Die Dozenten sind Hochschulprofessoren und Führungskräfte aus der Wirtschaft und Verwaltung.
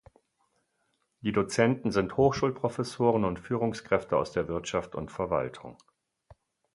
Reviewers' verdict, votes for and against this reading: accepted, 4, 0